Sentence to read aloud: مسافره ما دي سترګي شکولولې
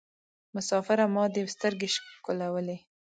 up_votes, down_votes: 2, 0